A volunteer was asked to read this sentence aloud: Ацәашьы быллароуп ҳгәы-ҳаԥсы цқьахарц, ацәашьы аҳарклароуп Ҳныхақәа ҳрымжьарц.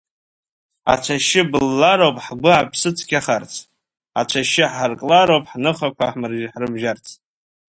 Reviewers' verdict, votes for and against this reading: rejected, 1, 2